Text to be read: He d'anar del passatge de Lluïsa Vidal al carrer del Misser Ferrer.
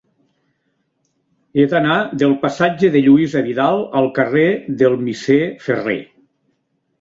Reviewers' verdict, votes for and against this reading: accepted, 2, 0